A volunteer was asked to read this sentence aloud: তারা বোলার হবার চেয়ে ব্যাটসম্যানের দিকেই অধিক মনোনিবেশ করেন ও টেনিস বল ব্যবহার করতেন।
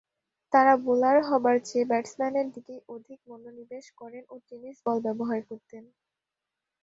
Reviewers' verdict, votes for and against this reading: rejected, 0, 2